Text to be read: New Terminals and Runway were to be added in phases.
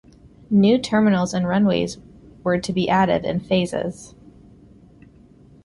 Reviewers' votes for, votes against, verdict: 1, 3, rejected